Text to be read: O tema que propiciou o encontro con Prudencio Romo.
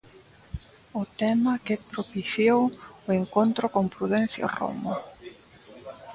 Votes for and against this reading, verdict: 2, 0, accepted